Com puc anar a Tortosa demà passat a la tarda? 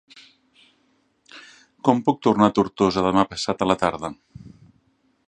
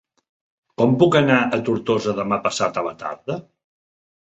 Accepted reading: second